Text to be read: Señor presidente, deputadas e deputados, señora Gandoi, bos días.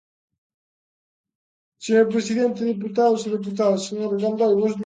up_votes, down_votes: 0, 2